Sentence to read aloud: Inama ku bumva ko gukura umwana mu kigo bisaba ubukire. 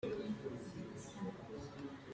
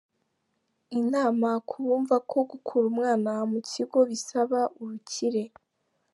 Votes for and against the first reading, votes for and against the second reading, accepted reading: 0, 2, 2, 0, second